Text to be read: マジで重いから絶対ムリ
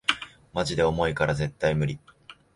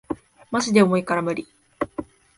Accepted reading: first